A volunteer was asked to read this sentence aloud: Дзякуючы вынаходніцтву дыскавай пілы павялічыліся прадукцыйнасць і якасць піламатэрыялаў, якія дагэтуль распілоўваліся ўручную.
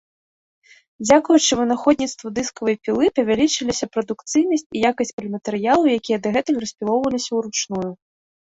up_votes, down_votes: 1, 2